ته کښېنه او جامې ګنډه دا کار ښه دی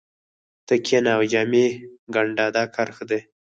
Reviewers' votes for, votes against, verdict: 4, 0, accepted